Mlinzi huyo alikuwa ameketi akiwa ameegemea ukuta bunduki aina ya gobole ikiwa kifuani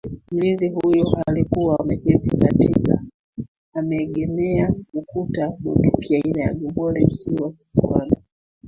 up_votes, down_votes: 0, 2